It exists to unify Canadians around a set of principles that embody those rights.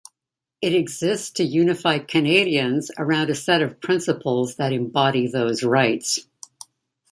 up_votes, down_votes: 2, 0